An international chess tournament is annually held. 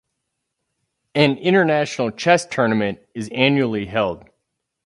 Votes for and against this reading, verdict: 4, 0, accepted